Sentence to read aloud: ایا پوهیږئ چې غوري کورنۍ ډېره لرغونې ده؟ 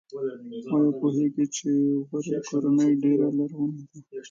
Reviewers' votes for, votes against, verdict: 0, 2, rejected